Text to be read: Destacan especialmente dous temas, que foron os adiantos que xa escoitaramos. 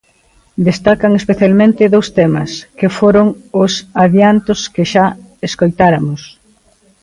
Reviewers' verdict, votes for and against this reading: rejected, 1, 2